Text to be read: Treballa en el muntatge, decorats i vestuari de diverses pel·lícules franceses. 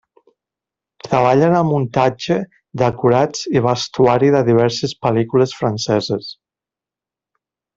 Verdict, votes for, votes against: accepted, 2, 0